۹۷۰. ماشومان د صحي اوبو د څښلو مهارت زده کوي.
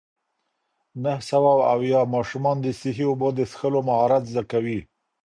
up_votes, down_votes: 0, 2